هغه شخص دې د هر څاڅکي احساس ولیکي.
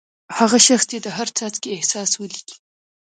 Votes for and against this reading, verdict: 2, 0, accepted